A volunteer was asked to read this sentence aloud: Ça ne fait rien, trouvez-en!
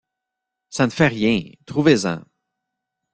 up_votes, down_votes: 2, 1